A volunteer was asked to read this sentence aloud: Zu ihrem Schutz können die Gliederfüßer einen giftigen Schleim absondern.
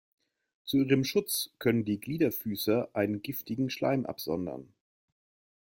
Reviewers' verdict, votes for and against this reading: accepted, 2, 0